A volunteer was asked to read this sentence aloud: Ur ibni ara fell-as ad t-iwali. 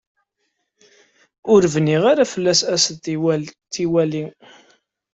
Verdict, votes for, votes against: rejected, 1, 2